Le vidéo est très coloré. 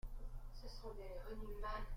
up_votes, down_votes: 0, 2